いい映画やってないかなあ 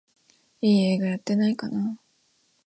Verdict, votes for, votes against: accepted, 2, 0